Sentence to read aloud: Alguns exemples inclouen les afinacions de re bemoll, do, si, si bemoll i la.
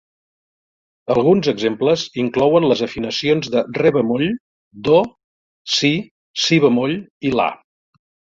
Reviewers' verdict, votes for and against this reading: accepted, 2, 0